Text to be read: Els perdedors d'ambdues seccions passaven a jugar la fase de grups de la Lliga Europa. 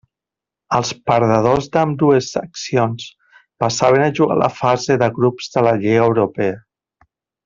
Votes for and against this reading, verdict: 1, 2, rejected